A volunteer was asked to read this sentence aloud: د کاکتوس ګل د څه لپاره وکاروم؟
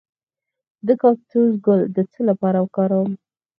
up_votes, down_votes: 0, 4